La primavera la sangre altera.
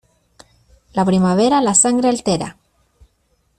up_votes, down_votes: 2, 0